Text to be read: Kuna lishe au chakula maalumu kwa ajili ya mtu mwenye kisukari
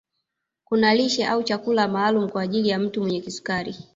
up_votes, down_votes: 1, 2